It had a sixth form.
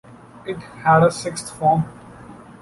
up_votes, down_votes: 2, 0